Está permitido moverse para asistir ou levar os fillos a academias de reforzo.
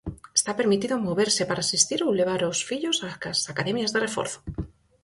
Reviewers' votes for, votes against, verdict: 0, 4, rejected